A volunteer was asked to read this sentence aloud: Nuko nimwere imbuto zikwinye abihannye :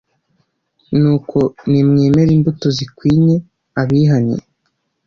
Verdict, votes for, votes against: rejected, 1, 2